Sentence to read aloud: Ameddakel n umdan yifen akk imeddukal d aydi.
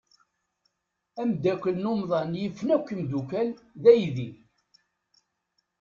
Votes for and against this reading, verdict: 1, 2, rejected